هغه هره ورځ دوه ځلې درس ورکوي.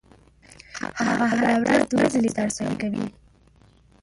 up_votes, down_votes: 0, 3